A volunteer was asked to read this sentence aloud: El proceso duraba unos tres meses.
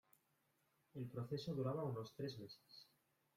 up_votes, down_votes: 1, 2